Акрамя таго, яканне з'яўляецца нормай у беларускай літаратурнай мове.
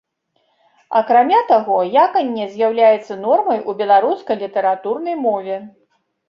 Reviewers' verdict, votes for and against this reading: accepted, 2, 0